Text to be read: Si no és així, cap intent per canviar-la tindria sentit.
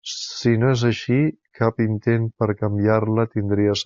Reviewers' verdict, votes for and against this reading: rejected, 0, 2